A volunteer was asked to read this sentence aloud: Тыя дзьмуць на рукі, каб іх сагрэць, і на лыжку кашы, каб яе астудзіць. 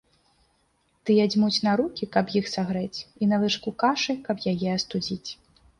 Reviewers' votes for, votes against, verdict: 2, 0, accepted